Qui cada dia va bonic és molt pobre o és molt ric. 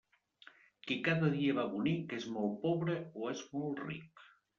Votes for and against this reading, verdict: 2, 0, accepted